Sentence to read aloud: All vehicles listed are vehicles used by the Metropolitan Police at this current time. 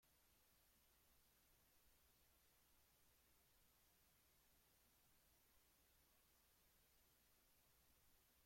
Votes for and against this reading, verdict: 0, 2, rejected